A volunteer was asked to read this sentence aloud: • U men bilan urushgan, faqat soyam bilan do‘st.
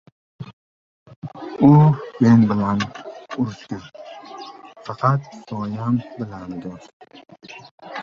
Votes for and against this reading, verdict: 0, 4, rejected